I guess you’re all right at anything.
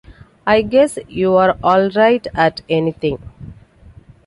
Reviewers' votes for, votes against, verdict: 2, 0, accepted